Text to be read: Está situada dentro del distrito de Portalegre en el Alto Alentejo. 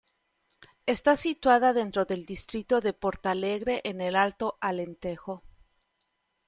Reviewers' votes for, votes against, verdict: 2, 0, accepted